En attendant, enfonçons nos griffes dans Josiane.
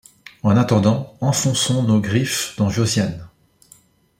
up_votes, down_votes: 2, 0